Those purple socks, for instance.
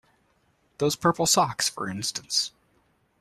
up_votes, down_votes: 2, 0